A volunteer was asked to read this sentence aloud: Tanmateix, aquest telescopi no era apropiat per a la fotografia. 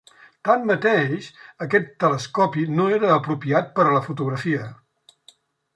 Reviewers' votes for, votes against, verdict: 3, 0, accepted